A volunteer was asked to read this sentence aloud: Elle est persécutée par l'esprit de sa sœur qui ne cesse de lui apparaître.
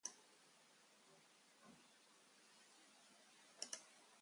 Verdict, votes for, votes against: rejected, 1, 2